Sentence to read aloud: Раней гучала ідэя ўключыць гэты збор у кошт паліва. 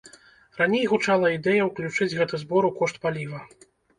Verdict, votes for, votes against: accepted, 2, 0